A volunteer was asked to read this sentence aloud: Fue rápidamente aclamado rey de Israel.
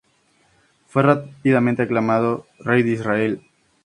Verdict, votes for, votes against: accepted, 4, 0